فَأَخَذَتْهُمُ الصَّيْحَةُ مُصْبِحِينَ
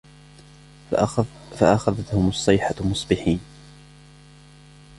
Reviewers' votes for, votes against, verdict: 0, 2, rejected